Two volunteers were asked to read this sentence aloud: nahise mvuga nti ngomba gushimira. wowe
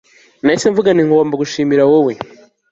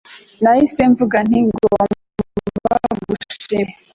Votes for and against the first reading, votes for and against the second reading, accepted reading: 2, 0, 1, 2, first